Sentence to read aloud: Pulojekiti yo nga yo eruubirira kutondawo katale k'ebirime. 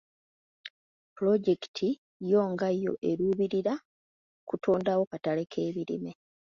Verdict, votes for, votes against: accepted, 2, 0